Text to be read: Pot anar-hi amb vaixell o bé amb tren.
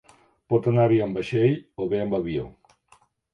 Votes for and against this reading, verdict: 1, 2, rejected